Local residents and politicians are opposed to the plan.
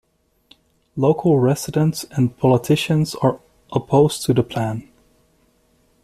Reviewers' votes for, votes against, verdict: 2, 1, accepted